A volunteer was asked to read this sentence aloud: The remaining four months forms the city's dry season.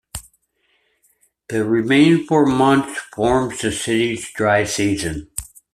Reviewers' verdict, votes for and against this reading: accepted, 2, 0